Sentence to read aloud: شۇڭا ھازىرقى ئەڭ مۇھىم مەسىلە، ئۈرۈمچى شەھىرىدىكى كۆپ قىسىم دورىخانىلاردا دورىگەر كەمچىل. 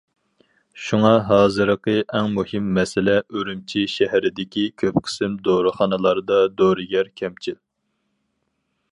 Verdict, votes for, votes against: accepted, 4, 0